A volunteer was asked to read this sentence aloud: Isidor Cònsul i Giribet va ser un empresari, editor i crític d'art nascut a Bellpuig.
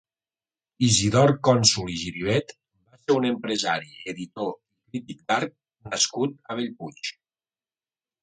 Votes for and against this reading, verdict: 1, 2, rejected